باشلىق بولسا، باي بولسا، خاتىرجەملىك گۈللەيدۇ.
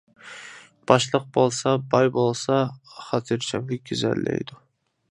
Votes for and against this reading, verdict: 0, 2, rejected